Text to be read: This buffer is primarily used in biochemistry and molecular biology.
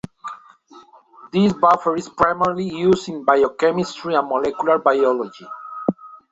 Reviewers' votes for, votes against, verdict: 2, 0, accepted